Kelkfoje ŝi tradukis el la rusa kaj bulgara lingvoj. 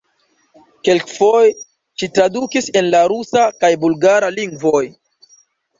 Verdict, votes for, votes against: rejected, 1, 3